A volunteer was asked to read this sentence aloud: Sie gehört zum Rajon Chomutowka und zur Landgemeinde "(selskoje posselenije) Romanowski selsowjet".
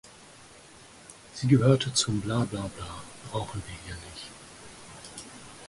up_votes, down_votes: 0, 4